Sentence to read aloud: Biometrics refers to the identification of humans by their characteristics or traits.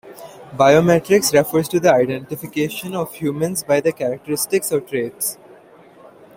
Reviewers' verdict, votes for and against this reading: accepted, 3, 0